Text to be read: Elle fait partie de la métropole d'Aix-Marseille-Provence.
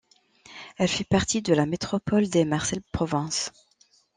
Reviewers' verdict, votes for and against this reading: rejected, 1, 2